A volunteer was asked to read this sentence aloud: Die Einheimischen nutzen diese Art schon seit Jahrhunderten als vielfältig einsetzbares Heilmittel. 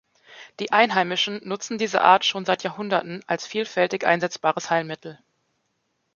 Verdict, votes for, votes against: accepted, 2, 0